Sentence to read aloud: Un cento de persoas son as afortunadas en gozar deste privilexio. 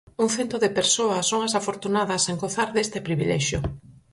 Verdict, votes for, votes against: accepted, 4, 0